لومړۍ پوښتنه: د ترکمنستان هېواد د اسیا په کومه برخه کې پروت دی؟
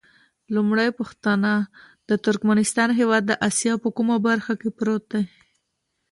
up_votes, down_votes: 3, 0